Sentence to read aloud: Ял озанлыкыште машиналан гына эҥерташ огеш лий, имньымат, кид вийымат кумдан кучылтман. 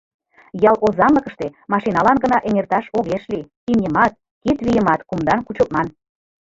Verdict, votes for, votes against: rejected, 1, 2